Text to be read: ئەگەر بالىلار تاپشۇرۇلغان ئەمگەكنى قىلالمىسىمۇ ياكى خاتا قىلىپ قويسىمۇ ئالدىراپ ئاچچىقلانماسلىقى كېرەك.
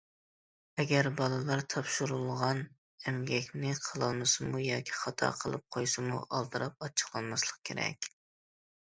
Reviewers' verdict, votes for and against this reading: rejected, 1, 2